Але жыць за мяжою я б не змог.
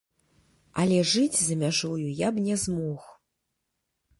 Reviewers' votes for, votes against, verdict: 2, 0, accepted